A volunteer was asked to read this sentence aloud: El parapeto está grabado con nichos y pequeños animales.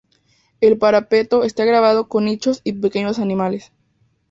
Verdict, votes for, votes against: accepted, 4, 0